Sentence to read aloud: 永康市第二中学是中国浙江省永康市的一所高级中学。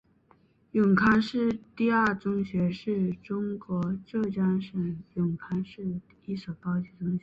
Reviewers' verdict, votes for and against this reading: accepted, 4, 0